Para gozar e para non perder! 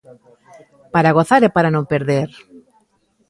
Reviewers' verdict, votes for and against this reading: accepted, 2, 0